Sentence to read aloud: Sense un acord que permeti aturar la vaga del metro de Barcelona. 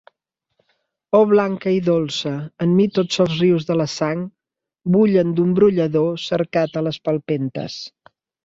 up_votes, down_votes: 1, 2